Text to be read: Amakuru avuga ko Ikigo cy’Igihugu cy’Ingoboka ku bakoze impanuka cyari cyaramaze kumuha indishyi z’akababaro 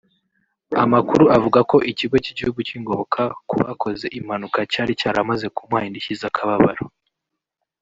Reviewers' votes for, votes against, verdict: 0, 2, rejected